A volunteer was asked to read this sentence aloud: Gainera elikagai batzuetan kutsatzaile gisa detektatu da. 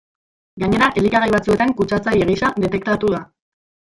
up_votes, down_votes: 1, 2